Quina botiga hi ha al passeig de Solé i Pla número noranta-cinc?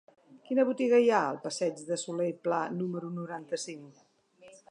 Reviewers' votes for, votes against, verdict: 2, 0, accepted